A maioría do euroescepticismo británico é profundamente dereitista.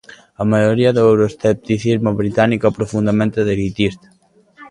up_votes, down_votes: 0, 2